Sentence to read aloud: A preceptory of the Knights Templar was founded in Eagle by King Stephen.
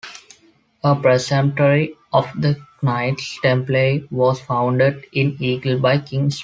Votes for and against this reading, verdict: 0, 2, rejected